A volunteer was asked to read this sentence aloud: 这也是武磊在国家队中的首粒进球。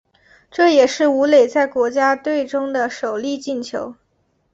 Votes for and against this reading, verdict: 2, 0, accepted